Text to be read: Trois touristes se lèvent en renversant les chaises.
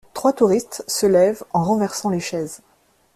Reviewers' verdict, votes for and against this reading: accepted, 2, 0